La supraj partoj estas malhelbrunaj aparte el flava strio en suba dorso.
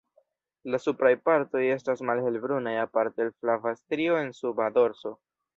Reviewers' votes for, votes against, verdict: 1, 2, rejected